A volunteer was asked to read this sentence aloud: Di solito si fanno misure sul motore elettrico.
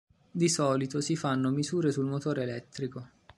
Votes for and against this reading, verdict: 4, 0, accepted